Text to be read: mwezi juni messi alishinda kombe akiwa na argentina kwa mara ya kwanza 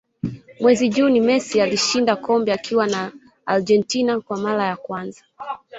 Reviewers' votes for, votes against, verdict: 2, 0, accepted